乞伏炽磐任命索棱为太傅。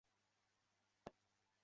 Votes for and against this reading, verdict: 0, 3, rejected